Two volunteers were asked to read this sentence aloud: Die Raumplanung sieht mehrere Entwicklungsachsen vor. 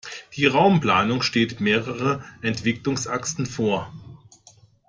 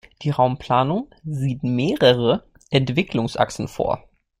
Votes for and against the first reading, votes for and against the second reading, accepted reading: 0, 2, 2, 0, second